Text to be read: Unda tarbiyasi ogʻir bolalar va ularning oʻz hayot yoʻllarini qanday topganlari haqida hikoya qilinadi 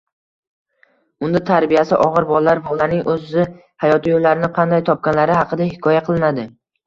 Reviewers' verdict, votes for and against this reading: rejected, 1, 2